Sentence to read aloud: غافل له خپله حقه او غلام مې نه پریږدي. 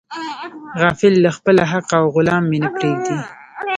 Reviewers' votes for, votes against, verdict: 2, 1, accepted